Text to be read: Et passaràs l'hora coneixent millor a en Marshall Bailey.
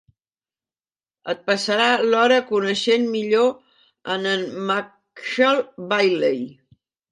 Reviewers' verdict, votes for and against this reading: rejected, 1, 2